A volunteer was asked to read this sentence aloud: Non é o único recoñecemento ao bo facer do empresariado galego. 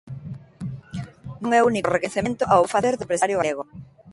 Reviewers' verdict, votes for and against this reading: rejected, 0, 2